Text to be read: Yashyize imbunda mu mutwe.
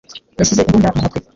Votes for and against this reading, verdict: 1, 2, rejected